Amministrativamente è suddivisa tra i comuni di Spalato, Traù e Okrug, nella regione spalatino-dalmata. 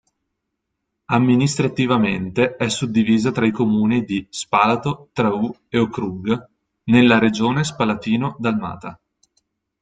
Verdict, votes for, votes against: rejected, 0, 2